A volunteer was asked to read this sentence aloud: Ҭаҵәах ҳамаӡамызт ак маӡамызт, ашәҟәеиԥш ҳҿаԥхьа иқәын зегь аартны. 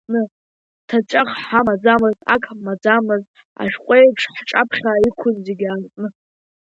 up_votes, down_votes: 1, 2